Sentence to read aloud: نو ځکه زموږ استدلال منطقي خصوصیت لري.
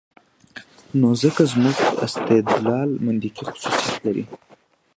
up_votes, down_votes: 2, 1